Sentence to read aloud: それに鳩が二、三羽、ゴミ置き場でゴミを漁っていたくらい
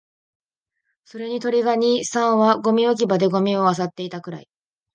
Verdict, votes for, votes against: rejected, 0, 2